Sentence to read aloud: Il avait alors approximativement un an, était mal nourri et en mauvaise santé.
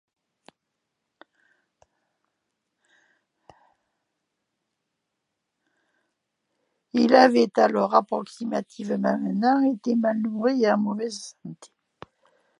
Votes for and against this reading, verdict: 0, 2, rejected